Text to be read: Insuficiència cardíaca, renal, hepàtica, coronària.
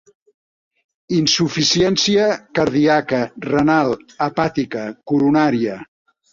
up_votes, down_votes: 0, 2